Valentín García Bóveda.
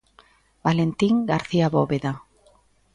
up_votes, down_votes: 2, 0